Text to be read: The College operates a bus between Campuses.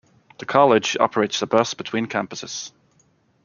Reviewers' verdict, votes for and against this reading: accepted, 2, 0